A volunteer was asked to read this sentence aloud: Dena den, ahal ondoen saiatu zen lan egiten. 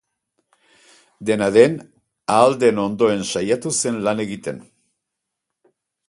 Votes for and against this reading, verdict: 0, 4, rejected